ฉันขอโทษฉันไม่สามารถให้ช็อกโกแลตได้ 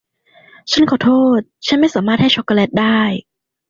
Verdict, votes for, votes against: accepted, 2, 0